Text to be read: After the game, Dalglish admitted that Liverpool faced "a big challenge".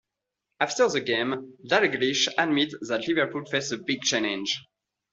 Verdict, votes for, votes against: accepted, 2, 0